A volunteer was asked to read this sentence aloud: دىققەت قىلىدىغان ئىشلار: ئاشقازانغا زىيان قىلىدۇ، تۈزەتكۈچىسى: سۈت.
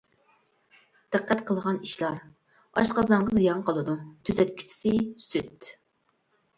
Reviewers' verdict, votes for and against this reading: rejected, 1, 2